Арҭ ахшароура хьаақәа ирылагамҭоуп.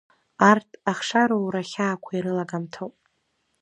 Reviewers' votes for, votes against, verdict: 1, 2, rejected